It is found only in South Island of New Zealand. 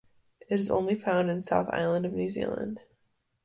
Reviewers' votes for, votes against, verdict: 0, 2, rejected